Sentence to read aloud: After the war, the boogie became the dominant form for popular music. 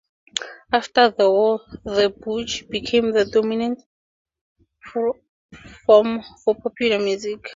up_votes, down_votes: 0, 4